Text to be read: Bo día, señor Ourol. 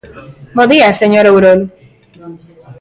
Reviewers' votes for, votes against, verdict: 4, 0, accepted